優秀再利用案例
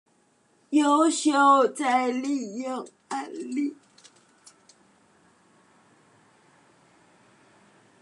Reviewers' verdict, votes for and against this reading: rejected, 0, 2